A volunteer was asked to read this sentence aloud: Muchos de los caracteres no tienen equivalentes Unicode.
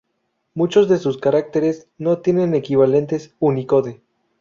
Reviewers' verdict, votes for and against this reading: rejected, 0, 2